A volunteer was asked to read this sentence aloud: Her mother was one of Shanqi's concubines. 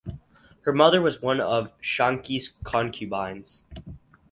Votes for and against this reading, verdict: 4, 0, accepted